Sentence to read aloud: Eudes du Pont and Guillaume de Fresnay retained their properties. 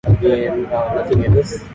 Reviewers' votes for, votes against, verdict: 0, 2, rejected